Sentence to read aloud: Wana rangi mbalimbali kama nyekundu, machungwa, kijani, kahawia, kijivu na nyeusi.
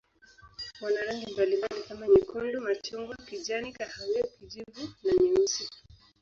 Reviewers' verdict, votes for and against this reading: rejected, 1, 2